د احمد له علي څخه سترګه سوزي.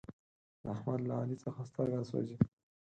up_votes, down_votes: 0, 4